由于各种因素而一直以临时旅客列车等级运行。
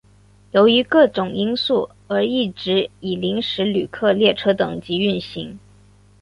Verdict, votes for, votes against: accepted, 4, 2